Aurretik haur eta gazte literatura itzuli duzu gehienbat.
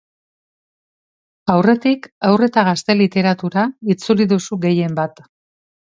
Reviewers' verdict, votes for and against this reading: accepted, 2, 0